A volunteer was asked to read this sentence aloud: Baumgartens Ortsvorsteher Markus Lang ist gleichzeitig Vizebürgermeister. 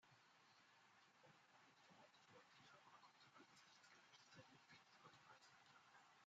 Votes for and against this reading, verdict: 0, 2, rejected